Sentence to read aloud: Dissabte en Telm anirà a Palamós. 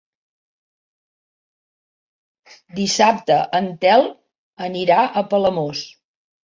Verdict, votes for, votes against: accepted, 4, 0